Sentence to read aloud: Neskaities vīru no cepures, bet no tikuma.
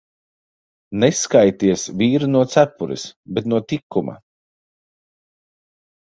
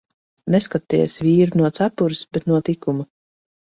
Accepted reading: first